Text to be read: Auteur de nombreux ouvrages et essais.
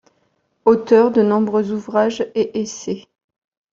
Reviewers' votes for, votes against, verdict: 2, 0, accepted